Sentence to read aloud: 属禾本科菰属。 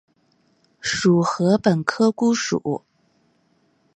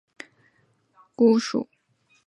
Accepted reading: first